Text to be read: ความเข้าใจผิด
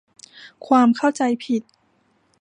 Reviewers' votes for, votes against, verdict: 2, 1, accepted